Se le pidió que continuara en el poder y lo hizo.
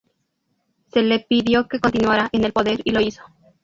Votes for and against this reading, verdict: 2, 0, accepted